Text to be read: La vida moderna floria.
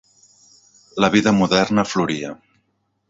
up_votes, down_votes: 2, 0